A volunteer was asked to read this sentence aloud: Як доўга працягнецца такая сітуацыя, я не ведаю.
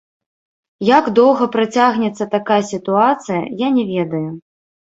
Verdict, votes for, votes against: rejected, 0, 2